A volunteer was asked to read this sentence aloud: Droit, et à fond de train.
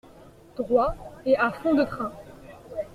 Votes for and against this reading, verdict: 2, 0, accepted